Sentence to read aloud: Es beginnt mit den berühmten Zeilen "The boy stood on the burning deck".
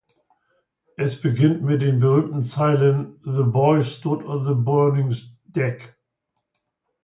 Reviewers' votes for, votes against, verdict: 0, 2, rejected